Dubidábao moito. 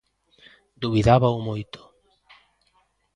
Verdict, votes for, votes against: accepted, 2, 0